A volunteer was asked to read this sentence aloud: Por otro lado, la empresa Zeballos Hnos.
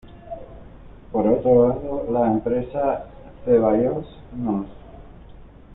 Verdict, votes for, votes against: accepted, 2, 1